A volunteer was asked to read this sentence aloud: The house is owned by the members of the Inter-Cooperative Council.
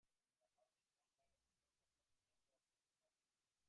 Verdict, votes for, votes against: rejected, 0, 2